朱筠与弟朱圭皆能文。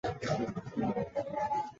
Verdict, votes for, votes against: rejected, 1, 2